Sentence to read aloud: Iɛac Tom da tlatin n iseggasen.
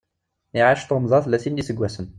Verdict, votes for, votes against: rejected, 1, 2